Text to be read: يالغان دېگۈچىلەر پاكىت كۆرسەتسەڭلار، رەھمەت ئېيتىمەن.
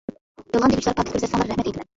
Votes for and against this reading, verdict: 0, 2, rejected